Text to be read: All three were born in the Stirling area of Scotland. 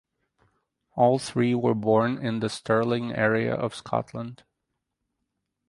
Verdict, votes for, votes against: accepted, 4, 0